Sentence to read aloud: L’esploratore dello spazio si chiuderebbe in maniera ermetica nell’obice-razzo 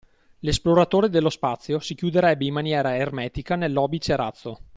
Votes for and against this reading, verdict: 2, 0, accepted